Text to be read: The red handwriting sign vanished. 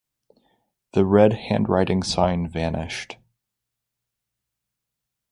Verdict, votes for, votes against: accepted, 6, 0